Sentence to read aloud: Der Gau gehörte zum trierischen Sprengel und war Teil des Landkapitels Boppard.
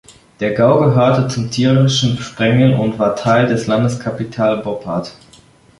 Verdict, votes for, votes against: rejected, 1, 2